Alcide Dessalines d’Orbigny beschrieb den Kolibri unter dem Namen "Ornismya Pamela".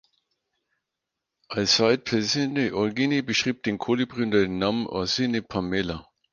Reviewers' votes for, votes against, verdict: 0, 4, rejected